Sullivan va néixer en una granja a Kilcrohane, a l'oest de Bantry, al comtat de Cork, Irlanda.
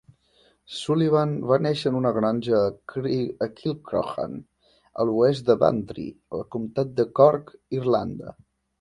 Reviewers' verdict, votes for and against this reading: rejected, 1, 2